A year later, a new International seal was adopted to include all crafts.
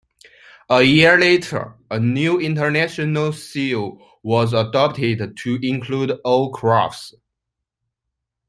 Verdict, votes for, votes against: accepted, 2, 0